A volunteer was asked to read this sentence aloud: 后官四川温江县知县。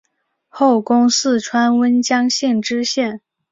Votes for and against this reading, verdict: 3, 3, rejected